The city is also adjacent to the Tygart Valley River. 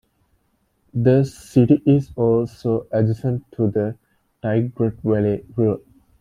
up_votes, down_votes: 1, 2